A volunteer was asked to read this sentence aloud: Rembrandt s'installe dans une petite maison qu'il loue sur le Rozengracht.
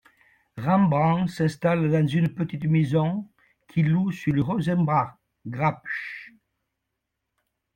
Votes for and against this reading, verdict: 0, 2, rejected